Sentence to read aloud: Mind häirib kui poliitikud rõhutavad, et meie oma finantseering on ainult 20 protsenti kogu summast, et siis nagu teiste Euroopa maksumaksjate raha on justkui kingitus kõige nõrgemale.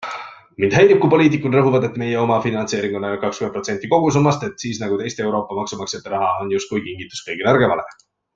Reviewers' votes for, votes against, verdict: 0, 2, rejected